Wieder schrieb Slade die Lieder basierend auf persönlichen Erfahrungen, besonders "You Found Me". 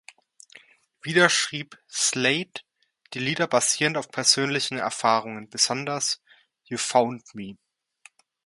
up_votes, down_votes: 2, 0